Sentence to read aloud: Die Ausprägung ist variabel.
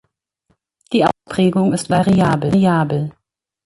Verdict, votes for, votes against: rejected, 1, 2